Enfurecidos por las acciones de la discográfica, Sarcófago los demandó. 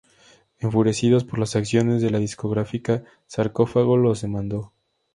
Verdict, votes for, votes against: accepted, 2, 0